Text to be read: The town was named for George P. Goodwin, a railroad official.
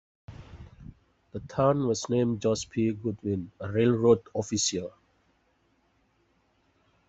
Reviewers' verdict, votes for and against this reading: rejected, 0, 2